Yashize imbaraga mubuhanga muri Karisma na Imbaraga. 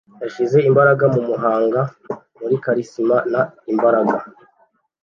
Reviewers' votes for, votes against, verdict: 1, 2, rejected